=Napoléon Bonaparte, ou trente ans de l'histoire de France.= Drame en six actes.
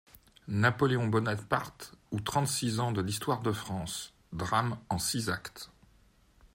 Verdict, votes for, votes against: rejected, 1, 2